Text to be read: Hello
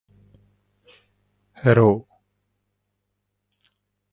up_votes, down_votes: 2, 1